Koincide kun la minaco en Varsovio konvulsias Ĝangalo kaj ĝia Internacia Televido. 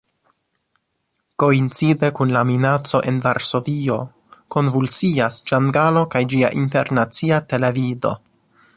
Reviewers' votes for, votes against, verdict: 1, 2, rejected